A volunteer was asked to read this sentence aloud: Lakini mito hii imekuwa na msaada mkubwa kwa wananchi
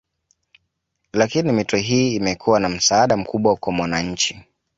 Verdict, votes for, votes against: accepted, 2, 1